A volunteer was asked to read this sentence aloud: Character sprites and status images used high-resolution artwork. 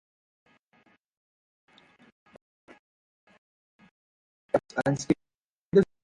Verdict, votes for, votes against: rejected, 0, 2